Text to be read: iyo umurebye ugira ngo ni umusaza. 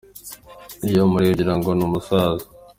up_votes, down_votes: 2, 0